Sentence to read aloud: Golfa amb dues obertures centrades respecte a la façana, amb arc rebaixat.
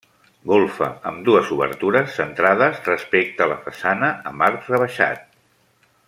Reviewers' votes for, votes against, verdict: 0, 2, rejected